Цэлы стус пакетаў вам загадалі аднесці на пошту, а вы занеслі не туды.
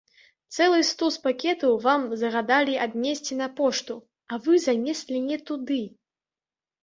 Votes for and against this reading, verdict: 2, 0, accepted